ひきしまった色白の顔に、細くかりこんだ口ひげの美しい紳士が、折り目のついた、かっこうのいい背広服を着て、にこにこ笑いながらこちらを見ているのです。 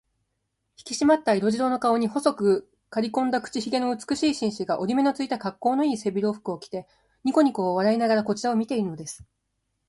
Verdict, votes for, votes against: rejected, 1, 2